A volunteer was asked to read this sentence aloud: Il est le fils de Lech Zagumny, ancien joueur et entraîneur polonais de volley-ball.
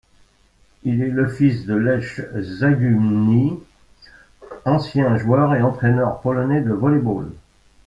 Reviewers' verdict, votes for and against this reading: accepted, 2, 1